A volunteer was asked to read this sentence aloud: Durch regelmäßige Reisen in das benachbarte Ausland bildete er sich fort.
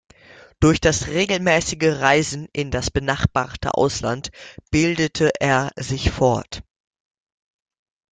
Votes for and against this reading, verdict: 1, 2, rejected